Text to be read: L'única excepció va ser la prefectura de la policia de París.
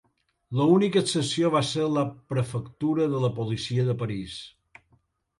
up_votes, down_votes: 1, 2